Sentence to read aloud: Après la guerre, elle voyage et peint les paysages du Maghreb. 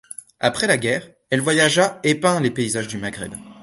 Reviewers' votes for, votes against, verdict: 0, 2, rejected